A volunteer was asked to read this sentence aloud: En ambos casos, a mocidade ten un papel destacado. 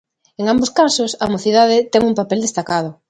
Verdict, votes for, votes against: accepted, 2, 0